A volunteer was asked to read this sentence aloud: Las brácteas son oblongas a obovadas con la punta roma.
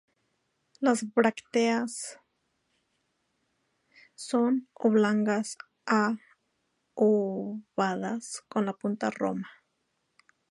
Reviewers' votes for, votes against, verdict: 0, 2, rejected